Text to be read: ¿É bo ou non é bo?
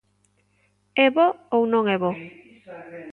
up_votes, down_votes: 1, 2